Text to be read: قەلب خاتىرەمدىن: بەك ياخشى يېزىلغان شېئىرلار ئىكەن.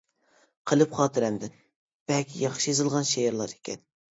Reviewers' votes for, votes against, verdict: 2, 0, accepted